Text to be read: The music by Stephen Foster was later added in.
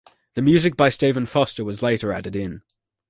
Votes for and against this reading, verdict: 2, 0, accepted